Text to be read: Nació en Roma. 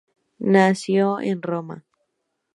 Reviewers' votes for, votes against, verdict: 2, 2, rejected